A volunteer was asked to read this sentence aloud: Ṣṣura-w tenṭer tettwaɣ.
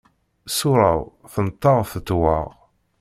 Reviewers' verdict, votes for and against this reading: accepted, 2, 0